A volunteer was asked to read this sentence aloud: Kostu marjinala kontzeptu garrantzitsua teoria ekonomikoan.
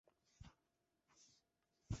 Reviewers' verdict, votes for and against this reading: rejected, 0, 2